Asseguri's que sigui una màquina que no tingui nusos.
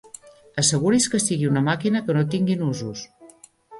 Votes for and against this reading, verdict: 2, 0, accepted